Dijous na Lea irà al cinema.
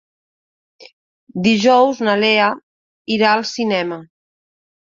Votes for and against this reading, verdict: 2, 0, accepted